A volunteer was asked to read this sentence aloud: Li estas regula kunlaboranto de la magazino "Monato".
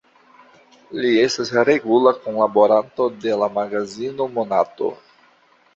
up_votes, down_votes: 2, 1